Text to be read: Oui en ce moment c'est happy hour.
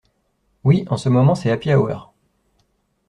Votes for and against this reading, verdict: 3, 0, accepted